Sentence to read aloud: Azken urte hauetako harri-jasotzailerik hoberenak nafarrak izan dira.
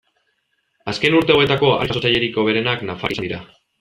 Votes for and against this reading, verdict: 2, 1, accepted